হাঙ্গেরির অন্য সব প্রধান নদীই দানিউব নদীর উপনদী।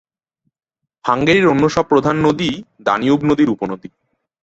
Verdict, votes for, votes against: accepted, 13, 1